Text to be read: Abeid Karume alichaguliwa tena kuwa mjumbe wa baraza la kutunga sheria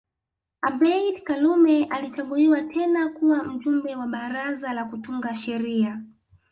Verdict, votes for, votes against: accepted, 2, 0